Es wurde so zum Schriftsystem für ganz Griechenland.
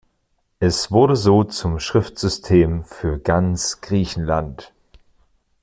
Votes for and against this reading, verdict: 2, 0, accepted